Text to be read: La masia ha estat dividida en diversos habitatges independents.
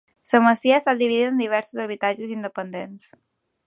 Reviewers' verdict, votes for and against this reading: rejected, 0, 2